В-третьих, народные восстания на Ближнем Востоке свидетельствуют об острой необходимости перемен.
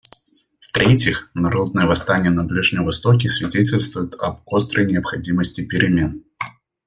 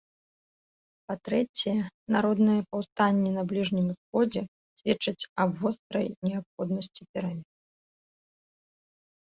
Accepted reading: first